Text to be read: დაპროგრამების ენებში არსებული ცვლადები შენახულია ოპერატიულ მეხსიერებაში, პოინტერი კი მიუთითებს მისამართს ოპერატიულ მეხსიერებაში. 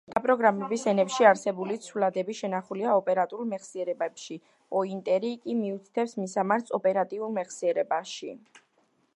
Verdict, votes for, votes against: rejected, 1, 2